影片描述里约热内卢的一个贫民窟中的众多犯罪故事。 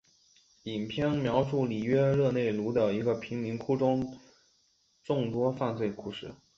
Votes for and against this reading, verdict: 3, 2, accepted